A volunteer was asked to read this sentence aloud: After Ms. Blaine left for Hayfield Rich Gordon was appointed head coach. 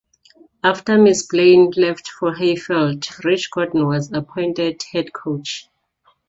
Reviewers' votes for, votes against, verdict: 2, 0, accepted